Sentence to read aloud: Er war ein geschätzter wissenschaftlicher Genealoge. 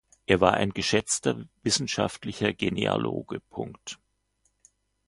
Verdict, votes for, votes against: accepted, 2, 1